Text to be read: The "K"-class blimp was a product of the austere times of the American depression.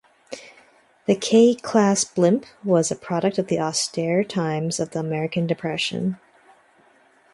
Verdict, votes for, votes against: accepted, 2, 0